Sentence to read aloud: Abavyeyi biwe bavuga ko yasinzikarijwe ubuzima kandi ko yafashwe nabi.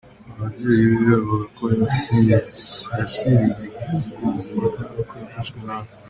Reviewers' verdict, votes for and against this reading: rejected, 0, 2